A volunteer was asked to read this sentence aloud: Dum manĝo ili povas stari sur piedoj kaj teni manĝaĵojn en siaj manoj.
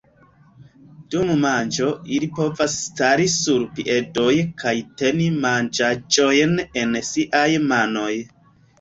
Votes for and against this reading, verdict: 1, 2, rejected